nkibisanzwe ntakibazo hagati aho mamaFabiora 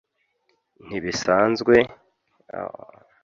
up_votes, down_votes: 0, 2